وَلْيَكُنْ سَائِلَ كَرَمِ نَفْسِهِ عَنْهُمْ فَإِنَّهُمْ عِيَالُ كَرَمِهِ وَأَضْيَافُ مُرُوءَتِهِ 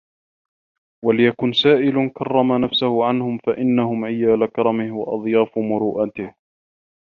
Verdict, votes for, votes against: rejected, 1, 2